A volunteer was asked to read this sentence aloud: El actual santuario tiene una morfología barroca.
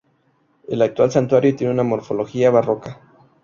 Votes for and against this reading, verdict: 2, 0, accepted